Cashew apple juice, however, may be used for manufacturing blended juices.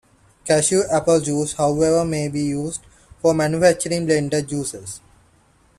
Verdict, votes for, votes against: accepted, 2, 0